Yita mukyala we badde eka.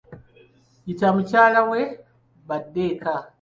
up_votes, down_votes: 2, 0